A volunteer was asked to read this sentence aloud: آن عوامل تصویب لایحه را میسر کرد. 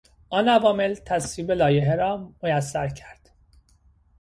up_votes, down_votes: 2, 0